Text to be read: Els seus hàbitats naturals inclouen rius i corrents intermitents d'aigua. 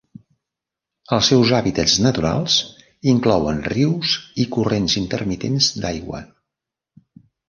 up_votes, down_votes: 3, 0